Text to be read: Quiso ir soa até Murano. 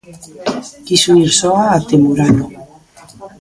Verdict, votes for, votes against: accepted, 2, 1